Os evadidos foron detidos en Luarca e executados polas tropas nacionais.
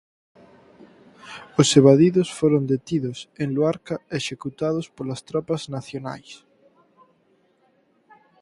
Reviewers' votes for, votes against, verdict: 4, 0, accepted